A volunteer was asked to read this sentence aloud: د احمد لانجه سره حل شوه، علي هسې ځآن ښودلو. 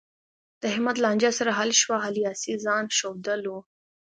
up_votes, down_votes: 2, 0